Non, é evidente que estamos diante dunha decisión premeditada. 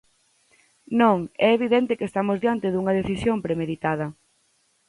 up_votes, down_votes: 4, 0